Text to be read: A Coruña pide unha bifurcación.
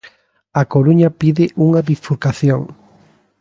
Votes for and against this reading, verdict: 3, 0, accepted